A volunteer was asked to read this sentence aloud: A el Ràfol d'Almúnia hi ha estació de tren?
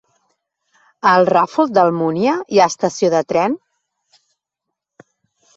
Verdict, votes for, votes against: accepted, 2, 0